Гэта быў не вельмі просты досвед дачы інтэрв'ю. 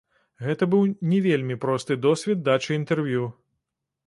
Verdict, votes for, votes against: rejected, 1, 2